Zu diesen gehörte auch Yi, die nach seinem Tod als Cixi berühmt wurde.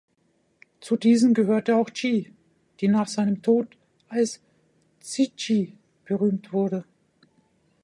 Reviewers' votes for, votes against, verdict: 0, 2, rejected